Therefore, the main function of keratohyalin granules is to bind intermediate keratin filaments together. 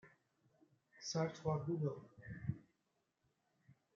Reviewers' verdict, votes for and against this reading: rejected, 0, 2